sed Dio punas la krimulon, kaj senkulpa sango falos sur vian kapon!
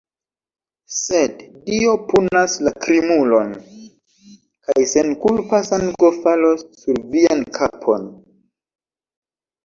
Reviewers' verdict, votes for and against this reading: accepted, 2, 0